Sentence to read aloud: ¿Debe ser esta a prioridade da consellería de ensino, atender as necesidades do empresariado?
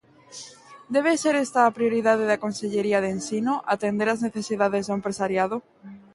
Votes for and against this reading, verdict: 2, 0, accepted